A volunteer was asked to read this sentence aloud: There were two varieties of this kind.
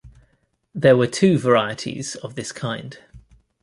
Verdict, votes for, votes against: accepted, 2, 0